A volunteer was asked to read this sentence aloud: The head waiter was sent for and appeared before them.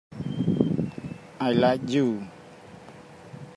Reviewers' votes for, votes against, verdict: 0, 2, rejected